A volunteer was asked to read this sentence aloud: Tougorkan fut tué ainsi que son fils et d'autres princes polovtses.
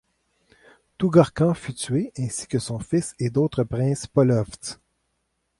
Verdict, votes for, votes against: accepted, 2, 0